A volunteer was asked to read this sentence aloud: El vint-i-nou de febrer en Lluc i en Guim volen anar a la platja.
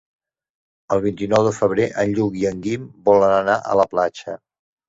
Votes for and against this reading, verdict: 3, 0, accepted